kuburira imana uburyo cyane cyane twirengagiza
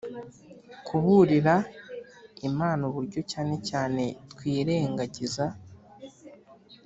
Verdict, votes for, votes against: accepted, 3, 0